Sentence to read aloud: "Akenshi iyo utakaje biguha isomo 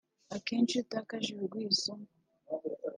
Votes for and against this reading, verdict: 0, 2, rejected